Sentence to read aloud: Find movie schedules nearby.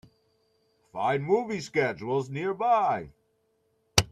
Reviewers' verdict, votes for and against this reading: accepted, 2, 1